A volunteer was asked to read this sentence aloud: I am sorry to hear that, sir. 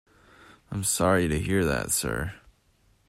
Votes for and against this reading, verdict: 2, 1, accepted